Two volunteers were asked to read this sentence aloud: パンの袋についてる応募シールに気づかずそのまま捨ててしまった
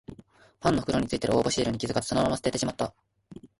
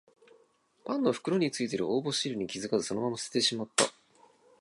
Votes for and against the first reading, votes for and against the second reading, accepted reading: 0, 2, 2, 0, second